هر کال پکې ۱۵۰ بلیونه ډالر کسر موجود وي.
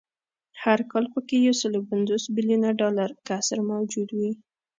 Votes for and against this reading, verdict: 0, 2, rejected